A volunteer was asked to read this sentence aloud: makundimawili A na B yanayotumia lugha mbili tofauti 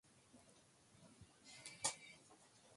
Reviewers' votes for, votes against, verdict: 0, 3, rejected